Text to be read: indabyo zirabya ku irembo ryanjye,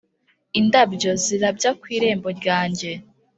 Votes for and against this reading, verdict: 2, 0, accepted